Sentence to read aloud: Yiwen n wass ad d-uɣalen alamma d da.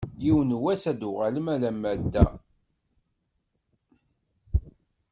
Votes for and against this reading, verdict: 2, 1, accepted